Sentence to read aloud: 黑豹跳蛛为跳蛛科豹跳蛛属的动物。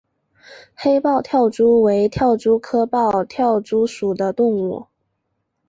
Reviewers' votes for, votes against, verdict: 1, 2, rejected